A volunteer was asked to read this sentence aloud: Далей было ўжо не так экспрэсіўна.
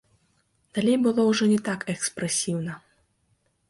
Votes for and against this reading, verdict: 2, 1, accepted